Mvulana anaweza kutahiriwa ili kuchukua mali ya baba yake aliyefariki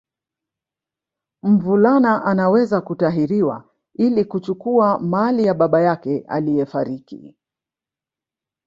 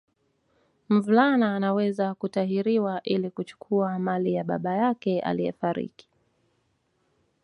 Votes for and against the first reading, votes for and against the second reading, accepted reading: 0, 2, 2, 1, second